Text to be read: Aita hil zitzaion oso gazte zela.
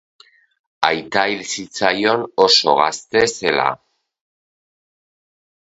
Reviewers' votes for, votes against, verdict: 12, 0, accepted